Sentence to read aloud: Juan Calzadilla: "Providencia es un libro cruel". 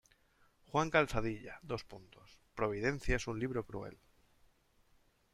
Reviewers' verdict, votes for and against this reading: rejected, 1, 2